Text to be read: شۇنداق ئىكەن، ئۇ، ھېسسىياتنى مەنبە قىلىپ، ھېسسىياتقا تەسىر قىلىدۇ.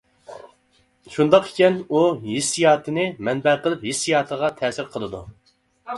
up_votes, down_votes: 1, 2